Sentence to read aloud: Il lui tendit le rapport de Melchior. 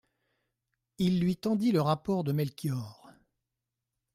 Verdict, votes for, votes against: accepted, 2, 0